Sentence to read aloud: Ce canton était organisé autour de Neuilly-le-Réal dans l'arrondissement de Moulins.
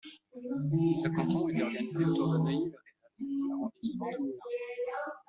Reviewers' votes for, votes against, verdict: 0, 2, rejected